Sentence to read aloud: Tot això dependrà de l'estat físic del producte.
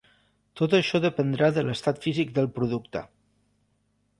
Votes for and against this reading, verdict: 3, 0, accepted